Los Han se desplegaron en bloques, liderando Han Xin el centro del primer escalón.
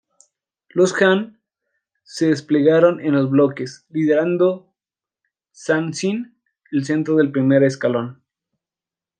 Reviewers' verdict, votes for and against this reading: rejected, 0, 2